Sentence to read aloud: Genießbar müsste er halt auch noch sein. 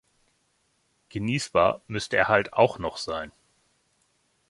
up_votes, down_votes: 2, 0